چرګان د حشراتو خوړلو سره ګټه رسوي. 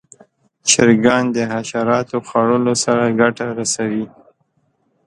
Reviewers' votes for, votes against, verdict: 2, 0, accepted